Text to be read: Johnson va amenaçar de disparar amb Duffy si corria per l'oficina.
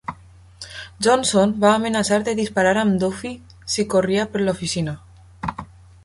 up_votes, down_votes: 2, 0